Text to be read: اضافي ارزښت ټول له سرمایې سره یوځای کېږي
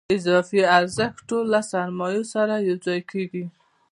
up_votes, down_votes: 2, 0